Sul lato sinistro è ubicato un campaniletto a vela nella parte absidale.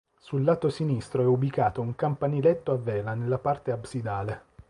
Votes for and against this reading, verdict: 2, 0, accepted